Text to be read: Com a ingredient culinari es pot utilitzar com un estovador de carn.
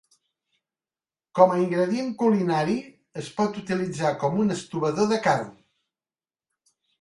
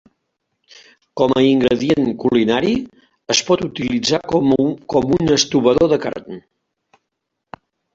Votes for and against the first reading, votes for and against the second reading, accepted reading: 3, 0, 0, 2, first